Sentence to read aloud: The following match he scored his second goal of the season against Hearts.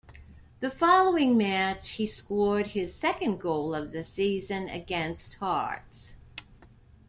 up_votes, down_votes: 1, 2